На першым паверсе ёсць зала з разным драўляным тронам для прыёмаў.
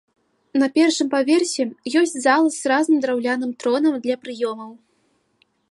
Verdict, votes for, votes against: rejected, 0, 2